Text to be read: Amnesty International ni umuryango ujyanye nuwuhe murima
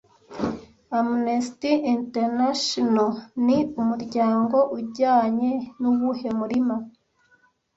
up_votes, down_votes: 1, 2